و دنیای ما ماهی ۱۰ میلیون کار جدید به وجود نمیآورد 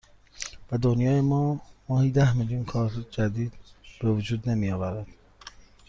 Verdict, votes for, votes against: rejected, 0, 2